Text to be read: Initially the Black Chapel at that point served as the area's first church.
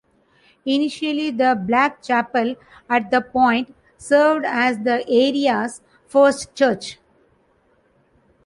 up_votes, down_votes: 1, 2